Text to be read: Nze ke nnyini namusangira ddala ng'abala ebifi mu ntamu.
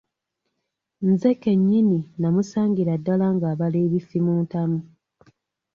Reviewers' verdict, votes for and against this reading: accepted, 2, 0